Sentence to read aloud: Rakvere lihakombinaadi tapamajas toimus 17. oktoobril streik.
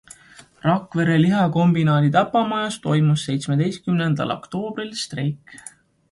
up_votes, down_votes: 0, 2